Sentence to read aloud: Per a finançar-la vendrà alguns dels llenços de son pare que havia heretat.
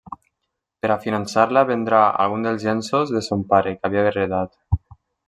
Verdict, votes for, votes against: rejected, 1, 2